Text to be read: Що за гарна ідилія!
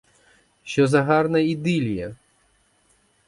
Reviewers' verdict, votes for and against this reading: accepted, 4, 0